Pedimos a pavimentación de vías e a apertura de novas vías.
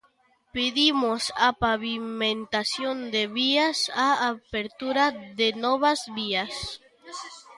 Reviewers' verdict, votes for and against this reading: rejected, 0, 2